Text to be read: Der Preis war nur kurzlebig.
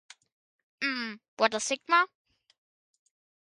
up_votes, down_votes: 0, 2